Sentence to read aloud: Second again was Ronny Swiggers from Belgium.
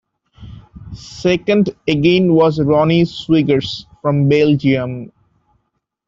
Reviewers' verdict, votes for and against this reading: accepted, 2, 1